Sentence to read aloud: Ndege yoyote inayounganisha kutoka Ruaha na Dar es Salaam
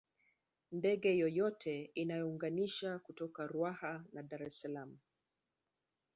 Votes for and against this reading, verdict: 1, 2, rejected